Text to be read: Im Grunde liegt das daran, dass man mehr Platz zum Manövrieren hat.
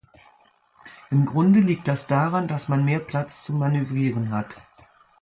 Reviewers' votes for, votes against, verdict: 2, 0, accepted